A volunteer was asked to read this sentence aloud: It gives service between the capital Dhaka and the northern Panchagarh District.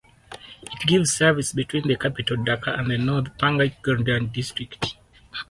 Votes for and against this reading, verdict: 2, 2, rejected